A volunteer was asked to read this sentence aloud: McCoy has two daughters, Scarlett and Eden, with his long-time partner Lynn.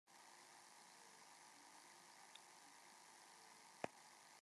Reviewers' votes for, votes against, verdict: 0, 2, rejected